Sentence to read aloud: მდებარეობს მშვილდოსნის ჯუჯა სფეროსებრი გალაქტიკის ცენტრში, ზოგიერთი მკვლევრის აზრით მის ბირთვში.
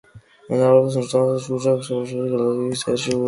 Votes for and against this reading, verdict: 0, 2, rejected